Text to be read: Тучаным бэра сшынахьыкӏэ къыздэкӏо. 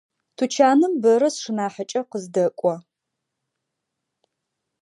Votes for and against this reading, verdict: 2, 0, accepted